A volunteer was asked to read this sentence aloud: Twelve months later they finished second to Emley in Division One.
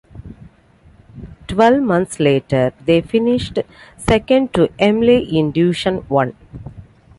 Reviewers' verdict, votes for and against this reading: accepted, 2, 0